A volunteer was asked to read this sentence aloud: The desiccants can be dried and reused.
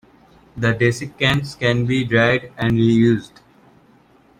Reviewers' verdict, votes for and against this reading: accepted, 2, 0